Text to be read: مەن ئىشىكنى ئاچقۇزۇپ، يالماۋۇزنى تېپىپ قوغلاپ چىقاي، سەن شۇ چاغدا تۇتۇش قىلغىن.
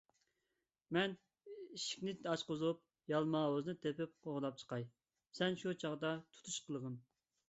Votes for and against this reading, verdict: 1, 2, rejected